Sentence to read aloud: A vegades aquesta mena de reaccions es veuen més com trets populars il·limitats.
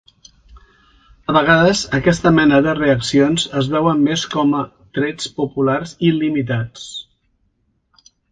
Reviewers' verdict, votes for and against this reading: rejected, 1, 2